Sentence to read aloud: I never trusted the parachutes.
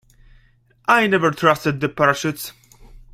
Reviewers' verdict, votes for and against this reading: accepted, 2, 0